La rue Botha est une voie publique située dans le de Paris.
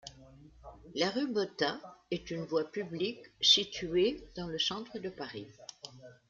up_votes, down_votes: 0, 2